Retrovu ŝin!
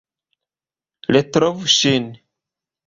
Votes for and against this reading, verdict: 3, 0, accepted